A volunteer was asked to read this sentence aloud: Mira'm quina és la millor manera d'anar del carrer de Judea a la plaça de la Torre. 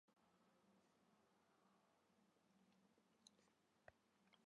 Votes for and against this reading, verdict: 0, 2, rejected